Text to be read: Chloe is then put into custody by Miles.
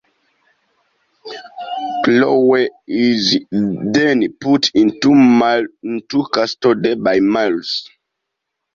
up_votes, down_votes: 1, 2